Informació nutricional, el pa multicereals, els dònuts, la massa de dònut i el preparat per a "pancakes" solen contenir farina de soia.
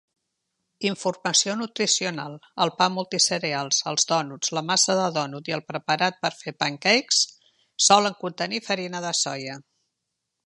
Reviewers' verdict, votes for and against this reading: rejected, 0, 2